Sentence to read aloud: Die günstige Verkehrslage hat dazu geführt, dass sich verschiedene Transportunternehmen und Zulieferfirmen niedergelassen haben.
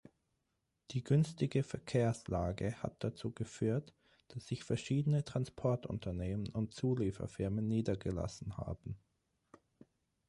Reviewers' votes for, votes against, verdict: 6, 0, accepted